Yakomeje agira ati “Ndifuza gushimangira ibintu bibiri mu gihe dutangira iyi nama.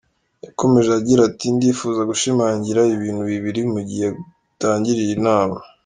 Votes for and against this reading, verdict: 1, 2, rejected